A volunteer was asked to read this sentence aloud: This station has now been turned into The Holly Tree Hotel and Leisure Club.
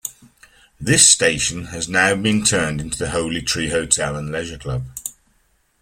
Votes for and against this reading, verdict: 2, 0, accepted